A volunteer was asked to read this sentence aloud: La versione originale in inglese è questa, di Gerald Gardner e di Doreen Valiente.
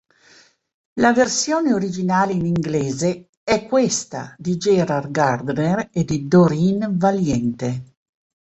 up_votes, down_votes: 2, 0